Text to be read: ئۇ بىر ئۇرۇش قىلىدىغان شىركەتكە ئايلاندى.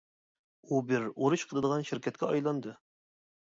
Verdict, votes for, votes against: accepted, 2, 0